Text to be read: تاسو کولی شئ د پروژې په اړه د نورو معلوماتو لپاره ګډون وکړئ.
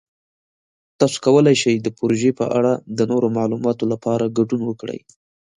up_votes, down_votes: 2, 0